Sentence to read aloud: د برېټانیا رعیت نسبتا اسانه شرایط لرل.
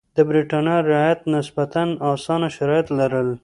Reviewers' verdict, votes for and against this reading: accepted, 2, 0